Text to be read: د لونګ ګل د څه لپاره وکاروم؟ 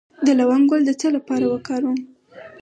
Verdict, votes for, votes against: rejected, 2, 4